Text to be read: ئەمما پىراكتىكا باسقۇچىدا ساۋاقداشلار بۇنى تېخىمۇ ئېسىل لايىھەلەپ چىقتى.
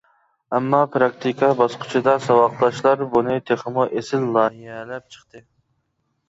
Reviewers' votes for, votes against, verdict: 2, 0, accepted